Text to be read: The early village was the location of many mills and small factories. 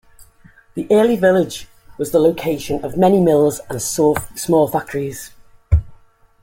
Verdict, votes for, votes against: rejected, 0, 2